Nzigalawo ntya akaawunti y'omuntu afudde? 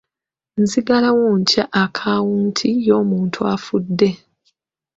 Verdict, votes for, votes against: accepted, 2, 1